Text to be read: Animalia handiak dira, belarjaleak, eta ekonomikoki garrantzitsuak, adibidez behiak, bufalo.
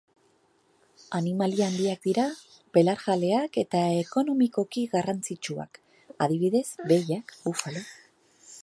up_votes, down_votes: 2, 0